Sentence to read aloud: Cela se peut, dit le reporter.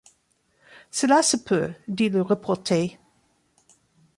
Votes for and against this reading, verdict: 1, 2, rejected